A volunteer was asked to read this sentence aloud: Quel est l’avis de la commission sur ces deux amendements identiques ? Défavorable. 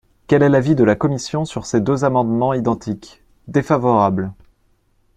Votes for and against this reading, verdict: 2, 0, accepted